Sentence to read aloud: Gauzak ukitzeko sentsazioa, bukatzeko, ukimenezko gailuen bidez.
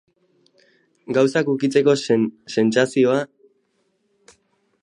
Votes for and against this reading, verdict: 0, 2, rejected